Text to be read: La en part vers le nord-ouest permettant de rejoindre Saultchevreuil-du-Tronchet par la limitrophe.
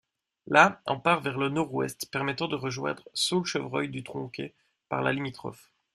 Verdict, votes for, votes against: rejected, 0, 2